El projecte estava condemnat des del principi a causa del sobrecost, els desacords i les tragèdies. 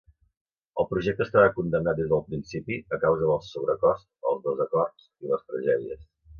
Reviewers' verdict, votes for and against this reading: rejected, 0, 2